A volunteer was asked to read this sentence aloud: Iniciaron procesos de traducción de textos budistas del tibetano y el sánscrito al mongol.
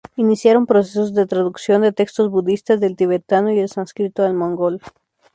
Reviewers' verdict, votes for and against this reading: accepted, 2, 0